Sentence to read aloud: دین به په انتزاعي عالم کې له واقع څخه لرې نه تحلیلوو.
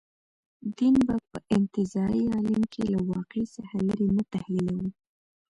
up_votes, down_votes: 0, 2